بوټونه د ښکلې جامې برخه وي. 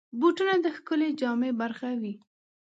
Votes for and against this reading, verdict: 3, 0, accepted